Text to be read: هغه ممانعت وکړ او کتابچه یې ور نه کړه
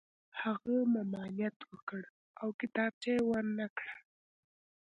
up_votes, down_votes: 2, 0